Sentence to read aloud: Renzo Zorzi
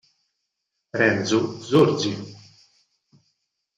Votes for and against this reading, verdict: 0, 4, rejected